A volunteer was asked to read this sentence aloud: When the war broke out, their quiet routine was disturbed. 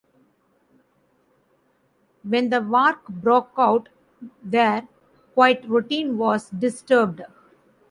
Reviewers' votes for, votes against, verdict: 0, 2, rejected